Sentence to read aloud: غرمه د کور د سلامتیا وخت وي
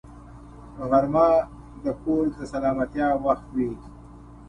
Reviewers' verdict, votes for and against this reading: accepted, 2, 0